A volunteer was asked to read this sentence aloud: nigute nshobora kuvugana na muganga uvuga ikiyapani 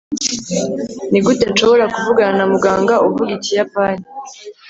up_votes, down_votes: 3, 0